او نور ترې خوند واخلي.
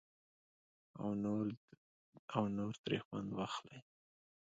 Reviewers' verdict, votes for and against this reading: accepted, 2, 0